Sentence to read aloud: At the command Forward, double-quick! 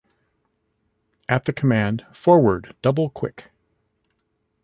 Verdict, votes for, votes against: rejected, 1, 2